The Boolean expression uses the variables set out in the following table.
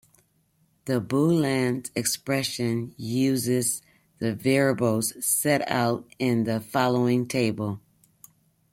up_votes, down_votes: 2, 1